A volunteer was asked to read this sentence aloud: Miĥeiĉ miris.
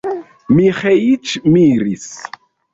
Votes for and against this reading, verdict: 0, 2, rejected